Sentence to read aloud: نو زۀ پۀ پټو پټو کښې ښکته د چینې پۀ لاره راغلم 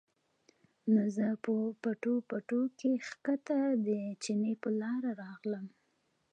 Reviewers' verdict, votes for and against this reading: accepted, 2, 0